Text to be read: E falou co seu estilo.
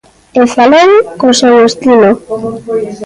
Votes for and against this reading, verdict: 2, 0, accepted